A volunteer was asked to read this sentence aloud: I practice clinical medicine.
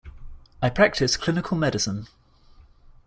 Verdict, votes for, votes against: accepted, 2, 0